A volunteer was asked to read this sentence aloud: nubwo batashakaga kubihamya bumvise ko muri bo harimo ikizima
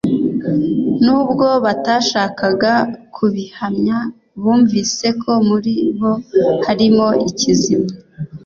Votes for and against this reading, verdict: 2, 0, accepted